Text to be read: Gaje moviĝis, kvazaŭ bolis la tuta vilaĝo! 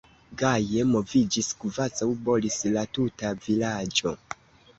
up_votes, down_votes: 2, 3